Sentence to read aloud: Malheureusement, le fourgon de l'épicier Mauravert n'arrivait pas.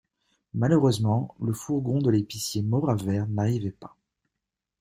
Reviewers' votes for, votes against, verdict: 2, 0, accepted